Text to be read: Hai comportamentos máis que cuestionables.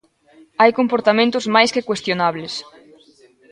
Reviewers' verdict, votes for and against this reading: rejected, 1, 2